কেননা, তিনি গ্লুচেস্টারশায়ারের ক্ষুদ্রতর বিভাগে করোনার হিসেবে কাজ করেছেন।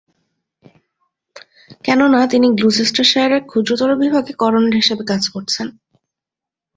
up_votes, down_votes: 1, 2